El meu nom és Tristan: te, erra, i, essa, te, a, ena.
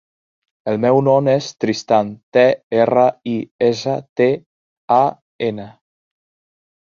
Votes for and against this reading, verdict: 1, 2, rejected